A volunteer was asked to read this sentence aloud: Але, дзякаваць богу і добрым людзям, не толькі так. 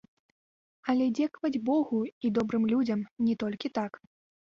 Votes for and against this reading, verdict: 0, 2, rejected